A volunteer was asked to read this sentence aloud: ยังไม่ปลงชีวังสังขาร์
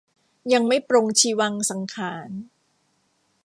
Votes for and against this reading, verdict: 1, 2, rejected